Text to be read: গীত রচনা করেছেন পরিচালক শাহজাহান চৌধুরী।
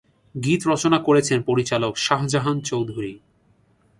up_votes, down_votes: 2, 0